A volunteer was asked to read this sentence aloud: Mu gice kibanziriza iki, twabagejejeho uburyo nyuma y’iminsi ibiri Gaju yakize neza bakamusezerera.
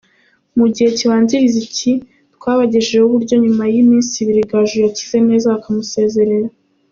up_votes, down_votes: 1, 3